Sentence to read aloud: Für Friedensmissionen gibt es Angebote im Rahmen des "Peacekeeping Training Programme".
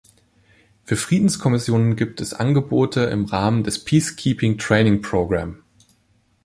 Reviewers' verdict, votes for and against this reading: rejected, 0, 2